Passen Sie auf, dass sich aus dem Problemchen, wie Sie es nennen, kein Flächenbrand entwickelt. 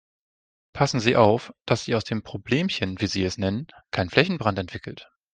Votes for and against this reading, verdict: 1, 2, rejected